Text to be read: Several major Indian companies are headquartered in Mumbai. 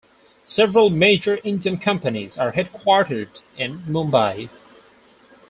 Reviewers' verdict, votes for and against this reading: rejected, 2, 4